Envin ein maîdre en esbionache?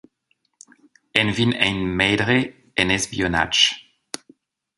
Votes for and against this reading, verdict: 0, 2, rejected